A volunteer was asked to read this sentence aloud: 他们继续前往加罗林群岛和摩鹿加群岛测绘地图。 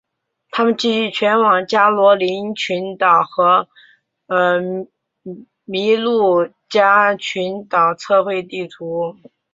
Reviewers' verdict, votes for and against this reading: rejected, 1, 2